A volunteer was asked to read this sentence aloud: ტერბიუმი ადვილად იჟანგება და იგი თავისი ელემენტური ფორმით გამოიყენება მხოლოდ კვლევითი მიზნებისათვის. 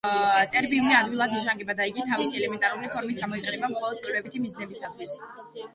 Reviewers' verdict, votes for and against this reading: rejected, 0, 2